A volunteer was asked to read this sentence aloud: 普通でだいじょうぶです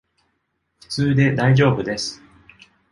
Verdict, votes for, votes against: accepted, 2, 0